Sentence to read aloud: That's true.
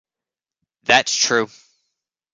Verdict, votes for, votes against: accepted, 2, 0